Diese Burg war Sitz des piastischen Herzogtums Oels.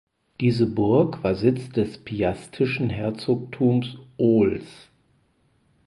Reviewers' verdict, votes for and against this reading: rejected, 0, 4